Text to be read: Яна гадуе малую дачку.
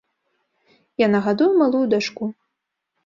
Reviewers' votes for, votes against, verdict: 2, 0, accepted